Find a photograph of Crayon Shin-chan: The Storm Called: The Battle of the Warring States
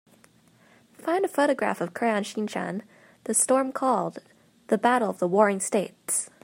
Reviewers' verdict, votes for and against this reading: accepted, 2, 0